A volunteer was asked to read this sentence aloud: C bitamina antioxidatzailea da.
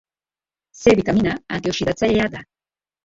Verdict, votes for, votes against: accepted, 2, 0